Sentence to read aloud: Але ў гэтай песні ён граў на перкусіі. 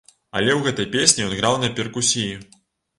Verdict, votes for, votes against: rejected, 1, 2